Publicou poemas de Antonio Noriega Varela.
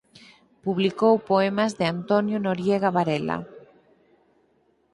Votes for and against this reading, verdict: 4, 0, accepted